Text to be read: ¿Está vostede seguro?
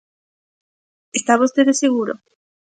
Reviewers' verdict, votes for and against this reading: accepted, 2, 0